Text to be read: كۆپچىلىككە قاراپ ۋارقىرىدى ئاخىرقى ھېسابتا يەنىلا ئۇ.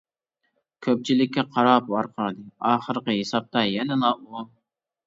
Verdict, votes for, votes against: accepted, 2, 0